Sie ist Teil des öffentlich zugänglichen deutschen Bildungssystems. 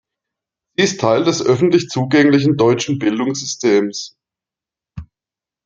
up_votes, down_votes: 0, 2